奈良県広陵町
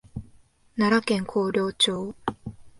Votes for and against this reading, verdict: 2, 0, accepted